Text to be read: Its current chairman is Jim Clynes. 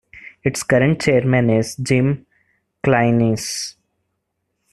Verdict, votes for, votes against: rejected, 0, 2